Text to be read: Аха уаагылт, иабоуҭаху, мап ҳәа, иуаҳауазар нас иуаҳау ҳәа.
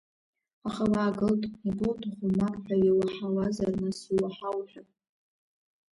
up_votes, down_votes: 0, 2